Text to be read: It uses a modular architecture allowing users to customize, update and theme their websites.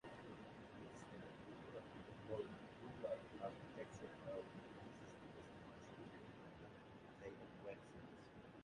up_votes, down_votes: 0, 2